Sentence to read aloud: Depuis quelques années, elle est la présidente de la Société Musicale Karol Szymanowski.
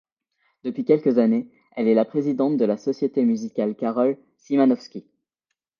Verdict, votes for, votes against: accepted, 2, 0